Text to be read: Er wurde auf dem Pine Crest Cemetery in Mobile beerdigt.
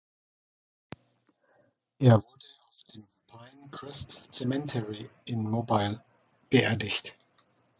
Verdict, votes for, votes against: rejected, 1, 2